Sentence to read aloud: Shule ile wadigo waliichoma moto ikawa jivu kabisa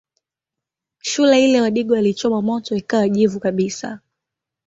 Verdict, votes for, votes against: accepted, 2, 0